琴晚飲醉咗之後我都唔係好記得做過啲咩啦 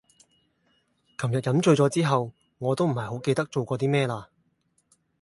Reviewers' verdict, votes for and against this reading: rejected, 0, 2